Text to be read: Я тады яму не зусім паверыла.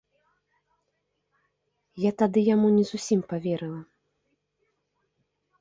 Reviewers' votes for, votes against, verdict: 3, 1, accepted